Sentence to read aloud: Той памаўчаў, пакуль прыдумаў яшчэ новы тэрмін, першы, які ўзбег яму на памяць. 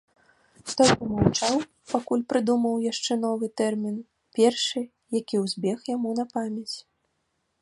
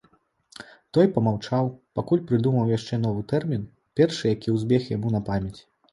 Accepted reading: second